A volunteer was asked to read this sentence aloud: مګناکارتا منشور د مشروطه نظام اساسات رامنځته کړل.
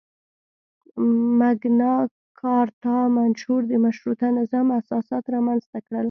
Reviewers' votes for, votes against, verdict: 1, 2, rejected